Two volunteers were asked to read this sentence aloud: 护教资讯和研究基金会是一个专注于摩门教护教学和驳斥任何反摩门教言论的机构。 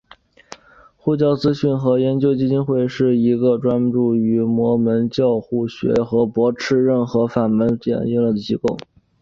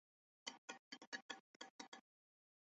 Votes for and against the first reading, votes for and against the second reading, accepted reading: 3, 1, 0, 2, first